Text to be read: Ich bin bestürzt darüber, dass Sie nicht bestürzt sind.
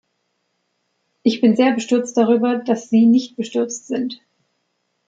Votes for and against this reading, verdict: 1, 2, rejected